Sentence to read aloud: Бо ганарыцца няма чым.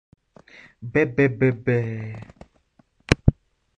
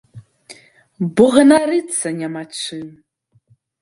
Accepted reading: second